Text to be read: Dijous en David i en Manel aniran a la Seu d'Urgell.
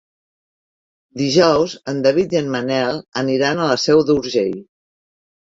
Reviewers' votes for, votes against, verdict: 6, 1, accepted